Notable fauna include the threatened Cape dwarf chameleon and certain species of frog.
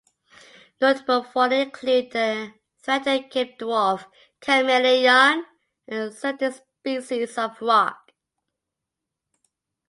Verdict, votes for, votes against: rejected, 1, 2